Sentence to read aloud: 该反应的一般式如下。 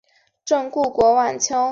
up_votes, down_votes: 1, 2